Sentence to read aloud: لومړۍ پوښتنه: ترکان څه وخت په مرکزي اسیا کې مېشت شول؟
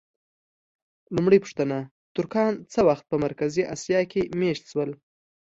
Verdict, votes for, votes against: accepted, 2, 0